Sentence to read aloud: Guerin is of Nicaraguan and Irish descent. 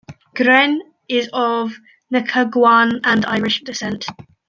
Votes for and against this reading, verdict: 1, 3, rejected